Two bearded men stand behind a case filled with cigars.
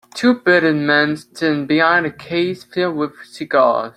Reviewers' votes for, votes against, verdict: 2, 0, accepted